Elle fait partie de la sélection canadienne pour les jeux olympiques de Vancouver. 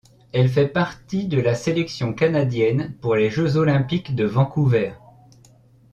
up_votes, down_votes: 2, 0